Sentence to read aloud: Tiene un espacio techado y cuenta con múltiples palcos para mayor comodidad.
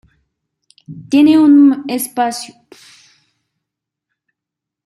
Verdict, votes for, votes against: rejected, 0, 2